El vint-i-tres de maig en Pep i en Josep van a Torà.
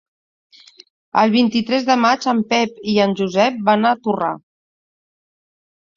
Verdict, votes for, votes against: rejected, 0, 2